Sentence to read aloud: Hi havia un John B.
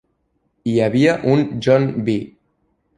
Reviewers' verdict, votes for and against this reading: accepted, 3, 0